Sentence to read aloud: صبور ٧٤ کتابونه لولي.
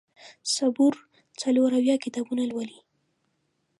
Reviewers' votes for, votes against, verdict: 0, 2, rejected